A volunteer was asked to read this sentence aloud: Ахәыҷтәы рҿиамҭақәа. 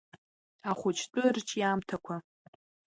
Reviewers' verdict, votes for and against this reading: accepted, 2, 0